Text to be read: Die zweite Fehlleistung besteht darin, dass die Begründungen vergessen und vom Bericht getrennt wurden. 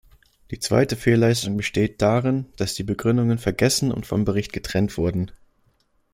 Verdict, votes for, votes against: accepted, 2, 0